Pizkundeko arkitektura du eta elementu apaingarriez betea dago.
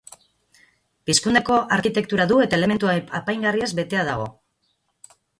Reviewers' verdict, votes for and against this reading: rejected, 2, 4